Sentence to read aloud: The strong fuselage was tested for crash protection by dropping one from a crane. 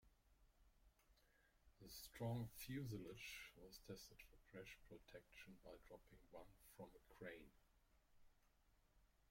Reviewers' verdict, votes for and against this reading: rejected, 0, 2